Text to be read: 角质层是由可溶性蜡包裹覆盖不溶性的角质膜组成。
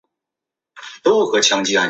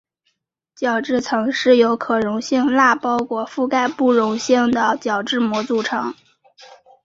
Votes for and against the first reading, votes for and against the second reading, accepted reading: 0, 2, 2, 0, second